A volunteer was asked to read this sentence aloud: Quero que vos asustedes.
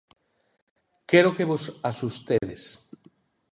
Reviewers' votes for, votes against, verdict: 2, 0, accepted